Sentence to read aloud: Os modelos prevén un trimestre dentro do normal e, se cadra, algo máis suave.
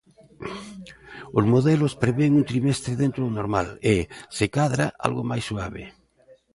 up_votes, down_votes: 2, 0